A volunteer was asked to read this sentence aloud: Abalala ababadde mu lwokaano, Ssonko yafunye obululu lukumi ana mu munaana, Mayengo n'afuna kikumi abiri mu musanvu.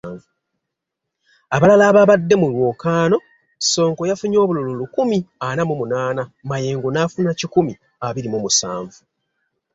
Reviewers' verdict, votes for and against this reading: accepted, 2, 0